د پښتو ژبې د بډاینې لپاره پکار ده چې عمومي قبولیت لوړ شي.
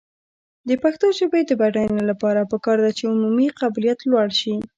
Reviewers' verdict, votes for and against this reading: rejected, 1, 2